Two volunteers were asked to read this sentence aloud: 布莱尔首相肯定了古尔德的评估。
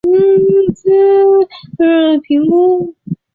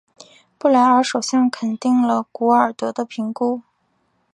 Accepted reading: second